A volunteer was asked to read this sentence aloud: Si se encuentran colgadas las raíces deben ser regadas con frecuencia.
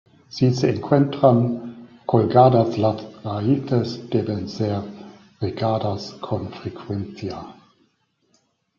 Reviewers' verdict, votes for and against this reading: accepted, 2, 1